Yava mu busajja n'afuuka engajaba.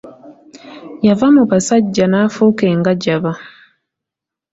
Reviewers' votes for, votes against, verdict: 1, 2, rejected